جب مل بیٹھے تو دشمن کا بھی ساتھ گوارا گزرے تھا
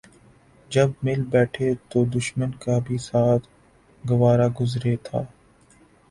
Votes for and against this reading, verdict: 3, 0, accepted